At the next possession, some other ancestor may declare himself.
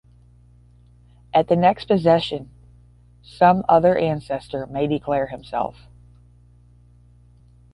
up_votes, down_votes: 10, 0